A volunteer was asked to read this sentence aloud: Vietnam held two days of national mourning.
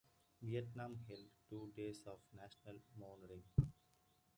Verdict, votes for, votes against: rejected, 1, 2